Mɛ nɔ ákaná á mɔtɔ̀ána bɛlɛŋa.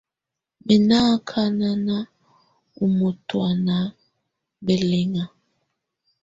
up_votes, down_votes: 2, 1